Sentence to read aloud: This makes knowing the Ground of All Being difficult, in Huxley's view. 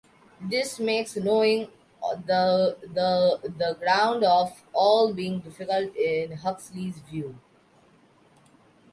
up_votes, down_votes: 0, 2